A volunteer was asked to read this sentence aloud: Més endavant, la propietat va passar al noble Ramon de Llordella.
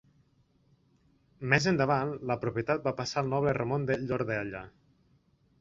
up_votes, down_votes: 2, 1